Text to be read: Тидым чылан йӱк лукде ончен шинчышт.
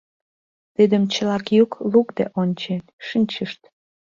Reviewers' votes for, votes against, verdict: 1, 2, rejected